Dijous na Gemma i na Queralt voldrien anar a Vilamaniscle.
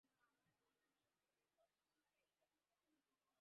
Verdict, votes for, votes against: rejected, 2, 4